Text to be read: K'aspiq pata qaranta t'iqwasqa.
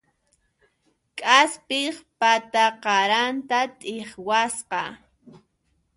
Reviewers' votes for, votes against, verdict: 2, 0, accepted